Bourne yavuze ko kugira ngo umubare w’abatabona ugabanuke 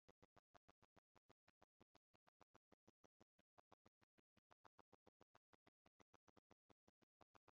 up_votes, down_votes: 1, 2